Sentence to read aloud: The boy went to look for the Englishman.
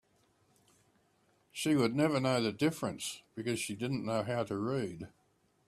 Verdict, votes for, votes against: rejected, 0, 3